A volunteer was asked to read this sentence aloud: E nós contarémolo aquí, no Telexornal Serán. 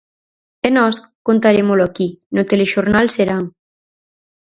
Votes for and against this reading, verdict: 4, 0, accepted